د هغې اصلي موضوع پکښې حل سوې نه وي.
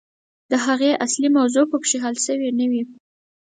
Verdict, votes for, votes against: accepted, 4, 0